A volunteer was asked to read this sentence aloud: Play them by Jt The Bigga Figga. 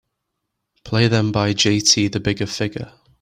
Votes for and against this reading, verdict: 2, 0, accepted